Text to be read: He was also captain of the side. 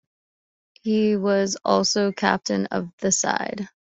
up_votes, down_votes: 2, 0